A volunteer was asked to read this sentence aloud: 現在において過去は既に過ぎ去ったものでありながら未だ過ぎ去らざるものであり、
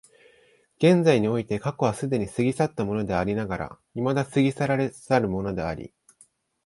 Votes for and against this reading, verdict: 1, 2, rejected